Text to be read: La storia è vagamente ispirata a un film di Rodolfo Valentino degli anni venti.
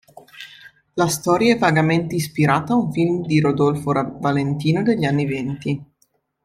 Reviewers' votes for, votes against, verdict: 2, 3, rejected